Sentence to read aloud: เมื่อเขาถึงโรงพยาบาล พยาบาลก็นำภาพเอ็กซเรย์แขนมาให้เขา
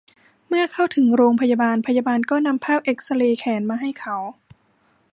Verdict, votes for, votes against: rejected, 0, 2